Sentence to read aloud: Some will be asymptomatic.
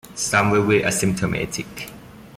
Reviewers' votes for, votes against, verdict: 0, 2, rejected